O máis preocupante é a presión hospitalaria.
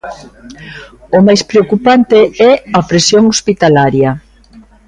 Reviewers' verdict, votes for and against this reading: rejected, 1, 2